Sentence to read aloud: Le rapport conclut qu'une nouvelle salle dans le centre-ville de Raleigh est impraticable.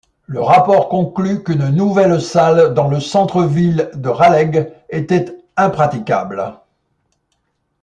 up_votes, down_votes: 0, 2